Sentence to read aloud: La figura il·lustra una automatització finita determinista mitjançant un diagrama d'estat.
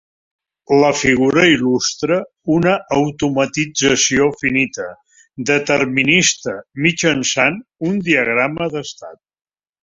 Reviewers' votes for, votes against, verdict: 3, 0, accepted